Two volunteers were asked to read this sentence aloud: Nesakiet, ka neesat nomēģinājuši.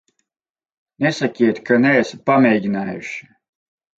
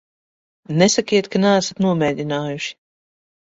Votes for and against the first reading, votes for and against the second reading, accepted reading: 2, 4, 2, 0, second